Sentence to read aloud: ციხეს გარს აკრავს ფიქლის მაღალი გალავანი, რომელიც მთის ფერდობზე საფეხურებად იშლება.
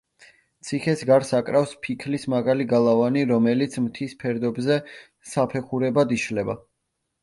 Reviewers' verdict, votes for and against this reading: accepted, 2, 0